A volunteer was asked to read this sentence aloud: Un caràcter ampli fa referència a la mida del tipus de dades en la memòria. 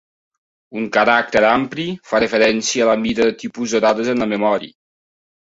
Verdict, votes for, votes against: accepted, 2, 0